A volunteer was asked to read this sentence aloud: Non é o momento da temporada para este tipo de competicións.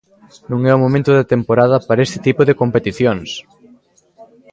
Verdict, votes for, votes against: rejected, 0, 2